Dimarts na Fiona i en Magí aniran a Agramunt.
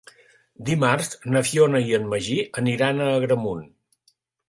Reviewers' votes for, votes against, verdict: 3, 0, accepted